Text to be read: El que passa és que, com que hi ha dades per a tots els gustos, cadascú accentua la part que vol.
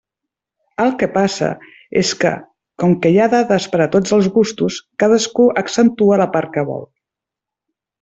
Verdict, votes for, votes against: accepted, 3, 0